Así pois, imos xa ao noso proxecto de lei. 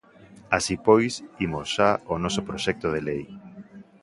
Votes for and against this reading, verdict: 2, 0, accepted